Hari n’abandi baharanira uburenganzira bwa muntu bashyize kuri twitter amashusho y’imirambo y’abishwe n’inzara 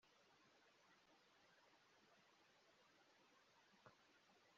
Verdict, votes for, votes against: rejected, 0, 2